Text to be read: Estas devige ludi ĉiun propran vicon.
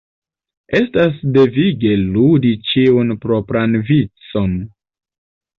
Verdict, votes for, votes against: accepted, 2, 0